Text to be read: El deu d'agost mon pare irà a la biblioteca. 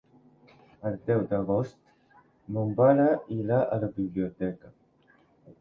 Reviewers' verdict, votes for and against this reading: accepted, 3, 1